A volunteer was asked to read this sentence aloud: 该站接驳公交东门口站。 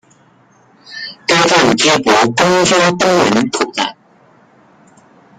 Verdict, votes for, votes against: rejected, 0, 2